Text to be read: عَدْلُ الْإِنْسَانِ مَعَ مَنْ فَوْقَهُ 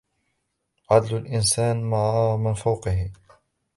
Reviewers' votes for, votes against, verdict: 0, 2, rejected